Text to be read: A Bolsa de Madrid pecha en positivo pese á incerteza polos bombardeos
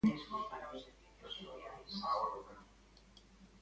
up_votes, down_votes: 0, 2